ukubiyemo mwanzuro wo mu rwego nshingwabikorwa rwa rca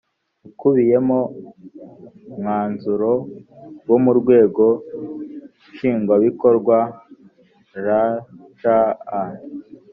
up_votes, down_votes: 1, 2